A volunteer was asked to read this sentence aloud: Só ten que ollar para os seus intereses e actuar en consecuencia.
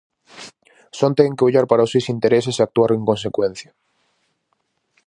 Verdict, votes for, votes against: rejected, 2, 2